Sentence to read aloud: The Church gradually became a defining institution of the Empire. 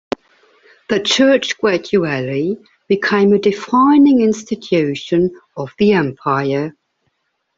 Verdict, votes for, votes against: accepted, 2, 1